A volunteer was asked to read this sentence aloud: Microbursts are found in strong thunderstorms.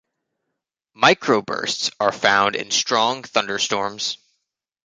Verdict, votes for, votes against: accepted, 2, 0